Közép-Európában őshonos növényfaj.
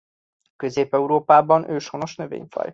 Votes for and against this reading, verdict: 2, 0, accepted